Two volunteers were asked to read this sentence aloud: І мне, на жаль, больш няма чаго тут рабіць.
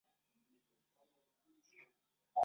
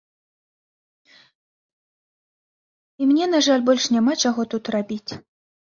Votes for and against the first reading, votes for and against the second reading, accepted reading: 0, 3, 2, 0, second